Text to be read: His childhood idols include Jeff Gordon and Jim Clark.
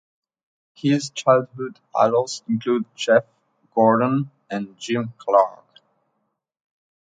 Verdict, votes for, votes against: accepted, 2, 0